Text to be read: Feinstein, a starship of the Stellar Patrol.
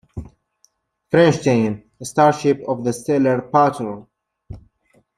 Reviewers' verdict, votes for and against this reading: accepted, 2, 1